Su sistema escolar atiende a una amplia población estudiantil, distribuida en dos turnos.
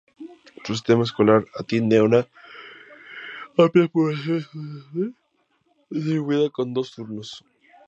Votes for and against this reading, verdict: 0, 2, rejected